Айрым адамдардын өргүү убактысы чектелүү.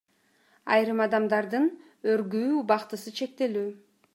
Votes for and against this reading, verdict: 2, 0, accepted